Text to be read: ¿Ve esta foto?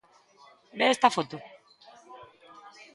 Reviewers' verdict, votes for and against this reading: accepted, 2, 1